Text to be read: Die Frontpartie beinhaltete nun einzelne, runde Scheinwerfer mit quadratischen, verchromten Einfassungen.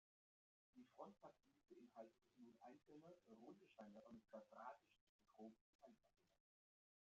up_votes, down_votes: 0, 2